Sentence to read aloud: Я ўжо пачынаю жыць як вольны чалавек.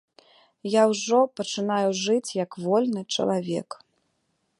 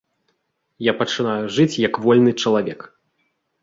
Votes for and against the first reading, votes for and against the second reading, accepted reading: 2, 0, 0, 2, first